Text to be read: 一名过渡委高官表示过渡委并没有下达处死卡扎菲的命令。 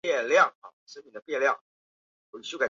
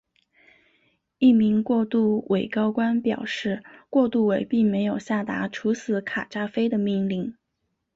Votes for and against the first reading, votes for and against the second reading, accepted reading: 0, 2, 2, 0, second